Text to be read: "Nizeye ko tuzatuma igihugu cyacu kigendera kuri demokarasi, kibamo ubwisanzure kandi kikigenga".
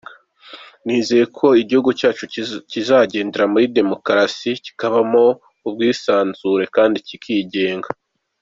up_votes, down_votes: 0, 2